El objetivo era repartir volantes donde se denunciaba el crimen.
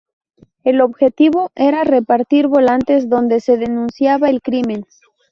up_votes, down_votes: 0, 2